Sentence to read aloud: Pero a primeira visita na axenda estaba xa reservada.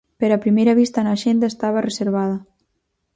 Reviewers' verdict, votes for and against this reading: rejected, 0, 4